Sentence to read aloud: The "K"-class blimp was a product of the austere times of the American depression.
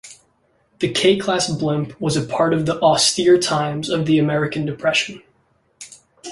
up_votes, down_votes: 2, 1